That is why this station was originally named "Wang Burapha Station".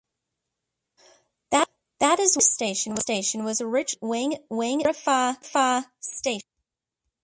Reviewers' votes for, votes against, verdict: 0, 2, rejected